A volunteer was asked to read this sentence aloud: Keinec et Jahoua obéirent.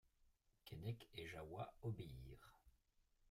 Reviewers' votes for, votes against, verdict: 0, 2, rejected